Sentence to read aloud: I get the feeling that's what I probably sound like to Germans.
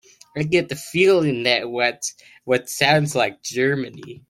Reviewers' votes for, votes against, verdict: 1, 3, rejected